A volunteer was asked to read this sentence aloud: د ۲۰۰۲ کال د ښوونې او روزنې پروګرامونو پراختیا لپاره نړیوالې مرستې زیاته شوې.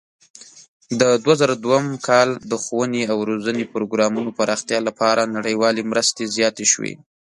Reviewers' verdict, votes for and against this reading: rejected, 0, 2